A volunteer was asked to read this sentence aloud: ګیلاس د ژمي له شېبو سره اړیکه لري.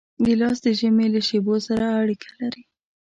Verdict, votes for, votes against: accepted, 2, 0